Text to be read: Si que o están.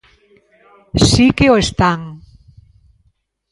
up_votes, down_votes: 1, 2